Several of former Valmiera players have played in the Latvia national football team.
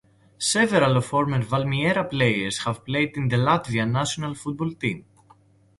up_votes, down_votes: 2, 0